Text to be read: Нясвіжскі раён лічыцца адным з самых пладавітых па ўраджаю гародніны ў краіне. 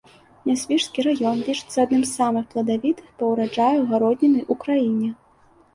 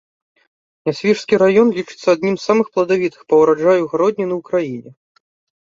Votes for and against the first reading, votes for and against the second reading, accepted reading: 2, 0, 0, 2, first